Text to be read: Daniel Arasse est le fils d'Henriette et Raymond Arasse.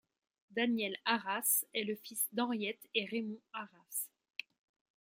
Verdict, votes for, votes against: accepted, 2, 0